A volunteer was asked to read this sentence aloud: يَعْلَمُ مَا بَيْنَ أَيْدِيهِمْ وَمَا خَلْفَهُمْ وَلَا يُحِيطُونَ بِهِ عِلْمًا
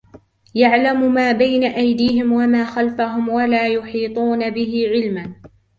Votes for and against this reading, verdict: 2, 1, accepted